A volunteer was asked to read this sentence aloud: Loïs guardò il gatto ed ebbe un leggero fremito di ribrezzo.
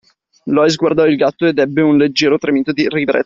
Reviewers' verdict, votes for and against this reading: rejected, 0, 2